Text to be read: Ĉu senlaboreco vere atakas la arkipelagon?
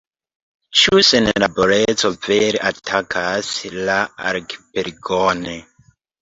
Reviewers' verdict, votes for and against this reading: rejected, 0, 2